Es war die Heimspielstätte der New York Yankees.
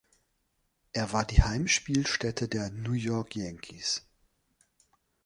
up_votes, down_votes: 0, 2